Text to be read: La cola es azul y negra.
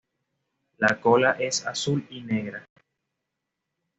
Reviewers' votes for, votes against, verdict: 2, 0, accepted